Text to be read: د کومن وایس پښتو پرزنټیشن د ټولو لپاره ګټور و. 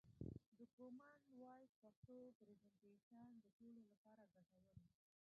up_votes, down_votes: 0, 2